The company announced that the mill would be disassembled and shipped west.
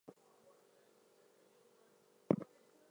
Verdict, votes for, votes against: rejected, 0, 2